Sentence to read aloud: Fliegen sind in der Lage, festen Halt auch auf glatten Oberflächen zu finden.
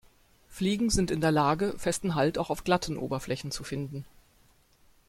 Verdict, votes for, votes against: accepted, 2, 0